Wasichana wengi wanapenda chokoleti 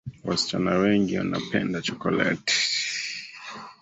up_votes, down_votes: 0, 2